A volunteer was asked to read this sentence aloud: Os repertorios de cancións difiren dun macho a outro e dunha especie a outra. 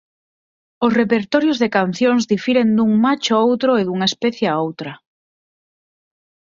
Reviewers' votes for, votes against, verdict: 6, 0, accepted